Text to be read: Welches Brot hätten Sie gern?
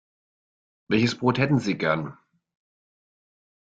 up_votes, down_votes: 2, 0